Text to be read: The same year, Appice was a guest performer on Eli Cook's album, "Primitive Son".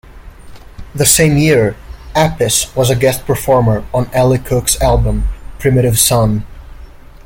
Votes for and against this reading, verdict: 1, 2, rejected